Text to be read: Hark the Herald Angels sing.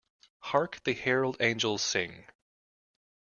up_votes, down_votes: 2, 0